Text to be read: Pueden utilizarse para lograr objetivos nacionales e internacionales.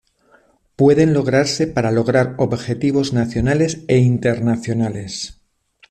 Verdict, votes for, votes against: rejected, 0, 2